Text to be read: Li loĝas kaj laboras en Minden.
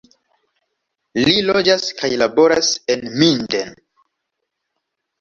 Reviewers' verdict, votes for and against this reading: accepted, 2, 0